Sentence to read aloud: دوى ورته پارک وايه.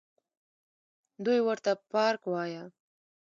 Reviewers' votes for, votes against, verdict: 2, 0, accepted